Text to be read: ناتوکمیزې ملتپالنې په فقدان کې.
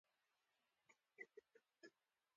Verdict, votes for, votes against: accepted, 3, 1